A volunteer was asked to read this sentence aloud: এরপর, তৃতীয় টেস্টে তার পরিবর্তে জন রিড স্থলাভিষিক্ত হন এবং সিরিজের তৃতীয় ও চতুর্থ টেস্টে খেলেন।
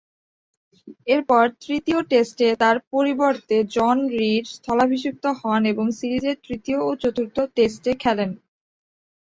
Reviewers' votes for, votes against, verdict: 5, 0, accepted